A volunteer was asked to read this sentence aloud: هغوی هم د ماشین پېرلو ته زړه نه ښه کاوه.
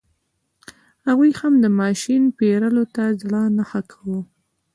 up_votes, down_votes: 2, 1